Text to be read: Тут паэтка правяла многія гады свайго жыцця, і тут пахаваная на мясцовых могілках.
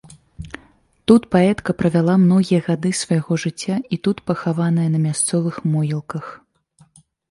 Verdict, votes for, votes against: accepted, 2, 1